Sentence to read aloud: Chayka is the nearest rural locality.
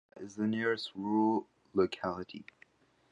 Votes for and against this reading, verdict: 0, 2, rejected